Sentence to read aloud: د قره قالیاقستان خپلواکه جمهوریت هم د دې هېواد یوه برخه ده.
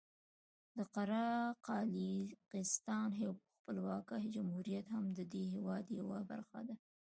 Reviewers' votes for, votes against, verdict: 2, 0, accepted